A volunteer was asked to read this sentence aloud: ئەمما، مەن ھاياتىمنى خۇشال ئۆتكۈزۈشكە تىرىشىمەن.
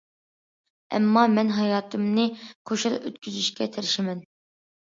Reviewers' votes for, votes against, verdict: 2, 1, accepted